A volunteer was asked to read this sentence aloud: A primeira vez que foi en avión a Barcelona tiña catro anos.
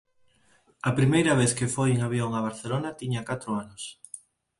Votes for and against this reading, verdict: 4, 0, accepted